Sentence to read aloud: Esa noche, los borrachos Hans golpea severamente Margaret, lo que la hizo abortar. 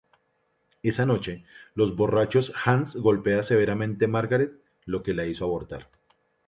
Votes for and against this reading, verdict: 2, 0, accepted